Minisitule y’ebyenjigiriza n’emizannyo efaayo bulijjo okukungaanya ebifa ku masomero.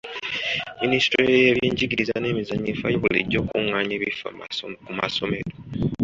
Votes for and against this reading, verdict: 0, 2, rejected